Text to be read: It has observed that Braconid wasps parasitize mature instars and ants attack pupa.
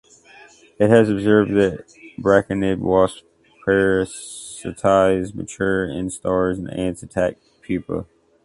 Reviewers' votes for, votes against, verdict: 0, 2, rejected